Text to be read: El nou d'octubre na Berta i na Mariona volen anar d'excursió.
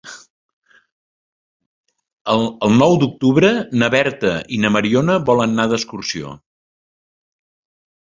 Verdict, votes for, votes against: rejected, 0, 2